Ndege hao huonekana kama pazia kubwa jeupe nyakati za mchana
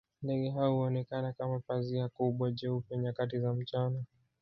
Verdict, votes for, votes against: rejected, 1, 2